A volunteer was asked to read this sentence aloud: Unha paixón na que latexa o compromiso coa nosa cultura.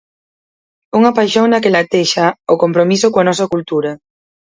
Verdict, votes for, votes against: accepted, 4, 0